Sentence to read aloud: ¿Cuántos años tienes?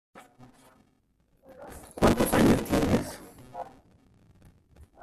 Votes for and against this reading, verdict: 0, 2, rejected